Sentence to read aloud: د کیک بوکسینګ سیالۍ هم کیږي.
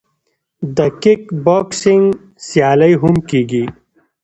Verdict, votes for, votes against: accepted, 2, 1